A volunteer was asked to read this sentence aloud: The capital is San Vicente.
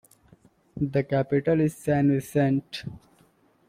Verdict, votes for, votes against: rejected, 1, 2